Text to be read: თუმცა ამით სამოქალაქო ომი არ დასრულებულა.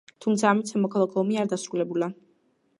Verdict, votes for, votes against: accepted, 2, 0